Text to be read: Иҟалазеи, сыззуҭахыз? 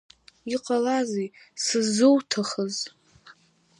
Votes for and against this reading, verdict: 4, 1, accepted